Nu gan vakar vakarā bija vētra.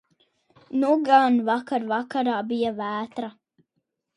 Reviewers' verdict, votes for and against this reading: accepted, 16, 0